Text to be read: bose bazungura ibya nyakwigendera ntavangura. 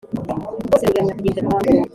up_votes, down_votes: 1, 2